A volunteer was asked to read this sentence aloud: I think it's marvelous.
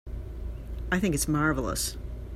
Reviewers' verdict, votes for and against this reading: accepted, 2, 0